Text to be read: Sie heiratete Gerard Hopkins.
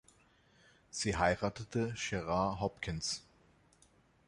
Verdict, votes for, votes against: accepted, 2, 0